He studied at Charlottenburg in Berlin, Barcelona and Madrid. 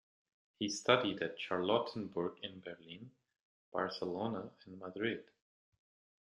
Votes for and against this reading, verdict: 2, 0, accepted